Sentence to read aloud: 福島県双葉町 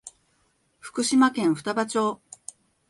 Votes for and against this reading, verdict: 2, 0, accepted